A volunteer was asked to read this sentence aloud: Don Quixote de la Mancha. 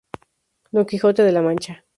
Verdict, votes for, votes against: rejected, 2, 2